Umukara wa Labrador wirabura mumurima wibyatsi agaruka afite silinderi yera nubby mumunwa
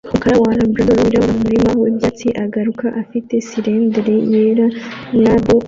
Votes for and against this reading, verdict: 0, 2, rejected